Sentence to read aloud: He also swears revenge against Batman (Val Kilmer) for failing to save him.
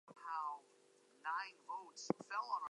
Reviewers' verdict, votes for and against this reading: accepted, 2, 0